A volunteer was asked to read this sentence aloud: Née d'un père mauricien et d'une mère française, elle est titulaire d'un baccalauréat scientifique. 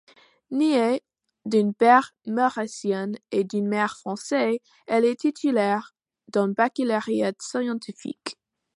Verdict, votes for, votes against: rejected, 0, 2